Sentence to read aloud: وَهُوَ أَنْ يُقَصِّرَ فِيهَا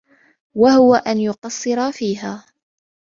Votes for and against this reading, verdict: 2, 0, accepted